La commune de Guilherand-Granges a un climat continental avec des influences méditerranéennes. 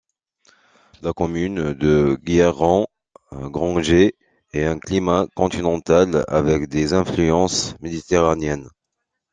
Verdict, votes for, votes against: rejected, 0, 2